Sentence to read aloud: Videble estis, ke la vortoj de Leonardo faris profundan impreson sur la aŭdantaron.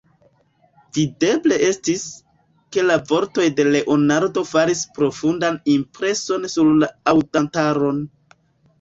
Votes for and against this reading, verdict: 2, 1, accepted